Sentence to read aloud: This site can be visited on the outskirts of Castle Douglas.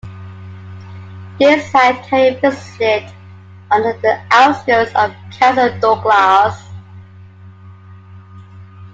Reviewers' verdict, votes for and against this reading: rejected, 1, 2